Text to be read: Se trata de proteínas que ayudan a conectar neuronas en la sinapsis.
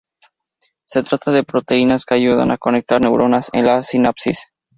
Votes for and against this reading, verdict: 2, 0, accepted